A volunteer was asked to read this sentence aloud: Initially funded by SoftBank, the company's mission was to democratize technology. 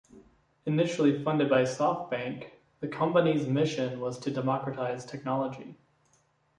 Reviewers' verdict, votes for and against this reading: accepted, 2, 0